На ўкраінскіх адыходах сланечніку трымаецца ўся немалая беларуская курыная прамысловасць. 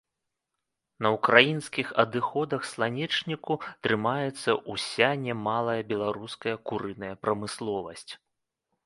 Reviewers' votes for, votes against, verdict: 0, 2, rejected